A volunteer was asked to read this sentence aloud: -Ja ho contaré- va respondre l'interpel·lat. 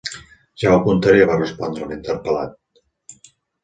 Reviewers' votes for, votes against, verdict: 2, 0, accepted